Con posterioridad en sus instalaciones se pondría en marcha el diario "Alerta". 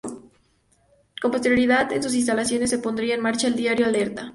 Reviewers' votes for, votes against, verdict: 2, 0, accepted